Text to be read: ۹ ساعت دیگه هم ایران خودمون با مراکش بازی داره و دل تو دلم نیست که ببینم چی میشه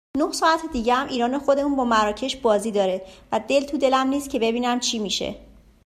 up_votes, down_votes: 0, 2